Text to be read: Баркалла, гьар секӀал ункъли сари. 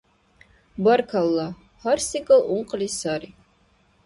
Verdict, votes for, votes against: accepted, 2, 0